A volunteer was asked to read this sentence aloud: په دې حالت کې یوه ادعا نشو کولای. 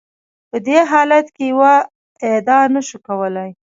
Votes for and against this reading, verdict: 2, 1, accepted